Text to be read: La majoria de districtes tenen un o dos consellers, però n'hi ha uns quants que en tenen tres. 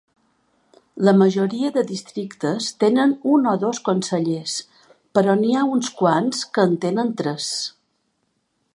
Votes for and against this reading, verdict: 5, 0, accepted